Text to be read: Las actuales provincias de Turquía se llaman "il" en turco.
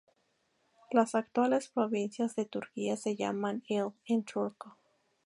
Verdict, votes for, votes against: rejected, 0, 2